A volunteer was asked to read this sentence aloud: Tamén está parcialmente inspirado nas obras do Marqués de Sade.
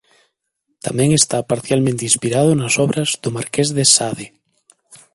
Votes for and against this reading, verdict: 2, 0, accepted